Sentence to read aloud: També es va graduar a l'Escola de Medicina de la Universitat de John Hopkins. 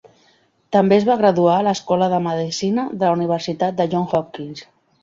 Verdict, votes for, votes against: accepted, 2, 0